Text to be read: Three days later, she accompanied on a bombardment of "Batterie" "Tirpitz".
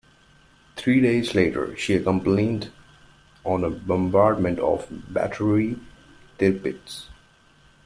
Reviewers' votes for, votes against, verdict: 1, 2, rejected